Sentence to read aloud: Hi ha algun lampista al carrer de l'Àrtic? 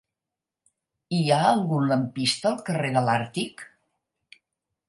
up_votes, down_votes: 4, 0